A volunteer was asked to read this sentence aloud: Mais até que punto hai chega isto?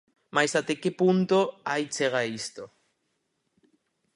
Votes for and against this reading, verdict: 2, 2, rejected